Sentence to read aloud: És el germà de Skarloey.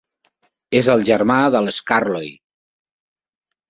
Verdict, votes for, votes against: rejected, 2, 3